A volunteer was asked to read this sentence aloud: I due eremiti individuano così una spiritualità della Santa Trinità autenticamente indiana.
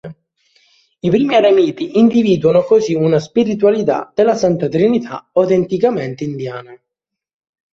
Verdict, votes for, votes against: rejected, 0, 3